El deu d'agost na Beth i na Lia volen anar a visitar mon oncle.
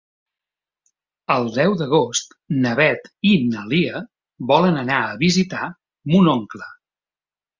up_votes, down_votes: 2, 0